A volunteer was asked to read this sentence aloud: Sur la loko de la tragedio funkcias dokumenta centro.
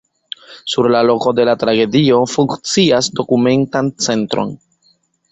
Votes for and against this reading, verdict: 0, 2, rejected